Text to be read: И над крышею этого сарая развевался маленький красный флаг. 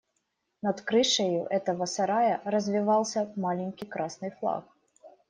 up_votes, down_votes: 1, 2